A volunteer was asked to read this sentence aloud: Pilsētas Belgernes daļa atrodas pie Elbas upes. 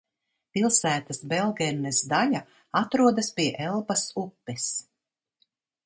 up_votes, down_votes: 2, 0